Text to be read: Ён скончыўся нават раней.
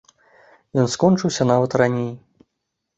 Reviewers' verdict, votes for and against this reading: accepted, 2, 0